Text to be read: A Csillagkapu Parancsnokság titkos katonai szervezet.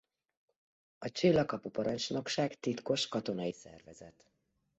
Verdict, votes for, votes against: accepted, 2, 0